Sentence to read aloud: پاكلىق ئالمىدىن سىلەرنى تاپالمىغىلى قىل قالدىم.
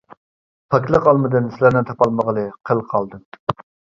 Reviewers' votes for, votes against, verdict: 1, 2, rejected